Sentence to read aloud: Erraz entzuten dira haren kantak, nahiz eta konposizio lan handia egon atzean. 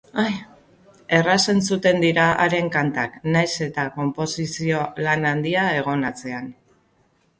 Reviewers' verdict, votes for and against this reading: accepted, 2, 0